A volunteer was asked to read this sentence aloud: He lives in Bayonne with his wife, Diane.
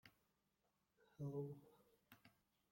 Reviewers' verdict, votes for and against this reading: rejected, 0, 2